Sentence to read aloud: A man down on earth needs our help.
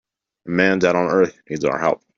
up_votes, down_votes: 2, 4